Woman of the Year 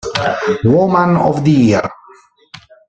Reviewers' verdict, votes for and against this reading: rejected, 1, 2